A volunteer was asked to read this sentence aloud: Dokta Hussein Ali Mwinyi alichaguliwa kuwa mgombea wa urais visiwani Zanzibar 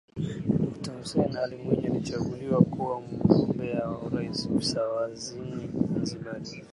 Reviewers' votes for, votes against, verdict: 2, 1, accepted